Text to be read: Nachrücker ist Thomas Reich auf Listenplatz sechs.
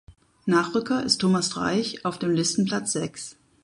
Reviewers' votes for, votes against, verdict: 0, 4, rejected